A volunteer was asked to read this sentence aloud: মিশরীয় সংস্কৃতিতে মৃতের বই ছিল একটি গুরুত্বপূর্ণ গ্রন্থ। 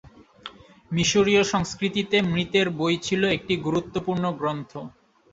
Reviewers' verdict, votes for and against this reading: accepted, 18, 0